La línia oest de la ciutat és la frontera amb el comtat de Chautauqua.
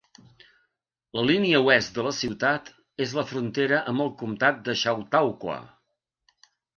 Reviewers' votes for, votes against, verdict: 2, 0, accepted